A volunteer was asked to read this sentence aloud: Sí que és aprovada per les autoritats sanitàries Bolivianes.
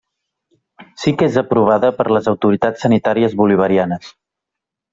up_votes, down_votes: 0, 2